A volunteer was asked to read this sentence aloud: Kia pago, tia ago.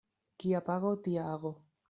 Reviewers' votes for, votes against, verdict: 2, 1, accepted